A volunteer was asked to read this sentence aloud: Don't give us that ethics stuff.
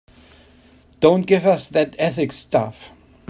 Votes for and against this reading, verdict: 2, 0, accepted